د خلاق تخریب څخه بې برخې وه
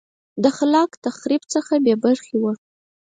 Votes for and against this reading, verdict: 4, 0, accepted